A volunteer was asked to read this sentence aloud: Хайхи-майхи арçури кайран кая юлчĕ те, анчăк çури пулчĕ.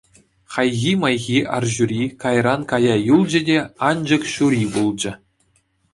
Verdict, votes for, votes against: accepted, 2, 0